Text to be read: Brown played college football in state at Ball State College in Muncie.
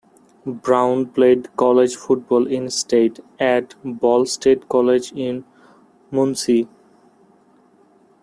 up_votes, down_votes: 2, 0